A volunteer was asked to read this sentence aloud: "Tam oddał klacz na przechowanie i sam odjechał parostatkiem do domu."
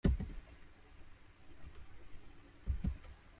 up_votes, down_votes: 0, 2